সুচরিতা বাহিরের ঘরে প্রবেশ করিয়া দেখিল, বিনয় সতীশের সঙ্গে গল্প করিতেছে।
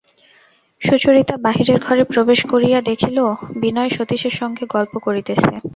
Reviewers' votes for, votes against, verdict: 2, 0, accepted